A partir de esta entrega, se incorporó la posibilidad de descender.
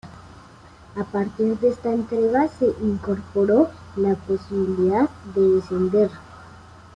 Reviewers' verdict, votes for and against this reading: rejected, 1, 2